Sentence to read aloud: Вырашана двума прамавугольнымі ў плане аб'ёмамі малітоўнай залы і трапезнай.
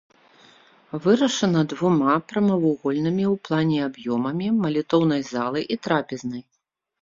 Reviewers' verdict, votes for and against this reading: accepted, 2, 0